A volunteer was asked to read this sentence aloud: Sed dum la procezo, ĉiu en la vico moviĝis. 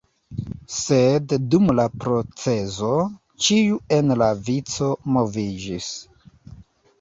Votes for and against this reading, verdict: 2, 1, accepted